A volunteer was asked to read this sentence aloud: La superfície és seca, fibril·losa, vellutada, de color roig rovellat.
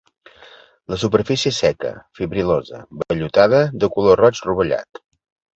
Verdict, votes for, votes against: accepted, 4, 0